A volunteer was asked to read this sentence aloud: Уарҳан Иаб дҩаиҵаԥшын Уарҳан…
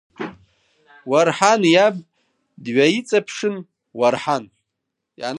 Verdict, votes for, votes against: rejected, 1, 2